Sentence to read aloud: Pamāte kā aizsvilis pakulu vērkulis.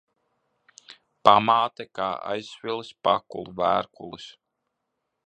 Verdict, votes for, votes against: accepted, 3, 0